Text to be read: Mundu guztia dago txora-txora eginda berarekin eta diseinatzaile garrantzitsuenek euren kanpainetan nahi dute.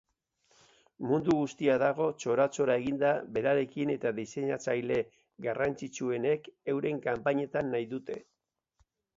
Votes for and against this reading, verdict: 2, 0, accepted